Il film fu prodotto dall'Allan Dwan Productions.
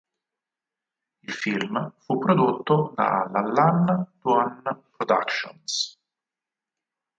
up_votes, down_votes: 2, 4